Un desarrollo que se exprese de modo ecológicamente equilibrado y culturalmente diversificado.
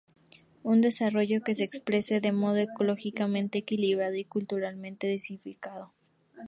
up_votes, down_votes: 0, 2